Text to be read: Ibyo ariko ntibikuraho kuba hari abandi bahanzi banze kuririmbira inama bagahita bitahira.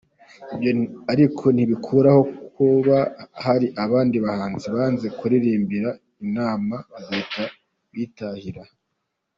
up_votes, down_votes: 2, 0